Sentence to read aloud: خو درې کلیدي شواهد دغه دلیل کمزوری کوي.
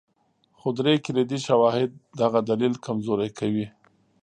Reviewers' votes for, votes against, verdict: 2, 0, accepted